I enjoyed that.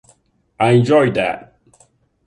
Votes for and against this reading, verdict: 2, 0, accepted